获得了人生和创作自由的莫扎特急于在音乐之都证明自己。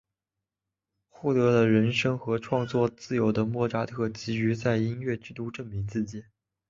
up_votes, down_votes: 3, 0